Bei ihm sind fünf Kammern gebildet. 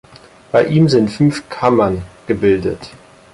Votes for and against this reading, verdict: 4, 0, accepted